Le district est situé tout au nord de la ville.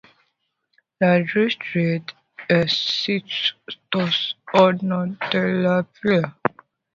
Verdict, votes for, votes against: accepted, 2, 0